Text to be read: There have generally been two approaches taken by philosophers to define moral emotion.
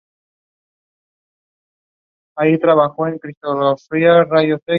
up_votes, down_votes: 0, 2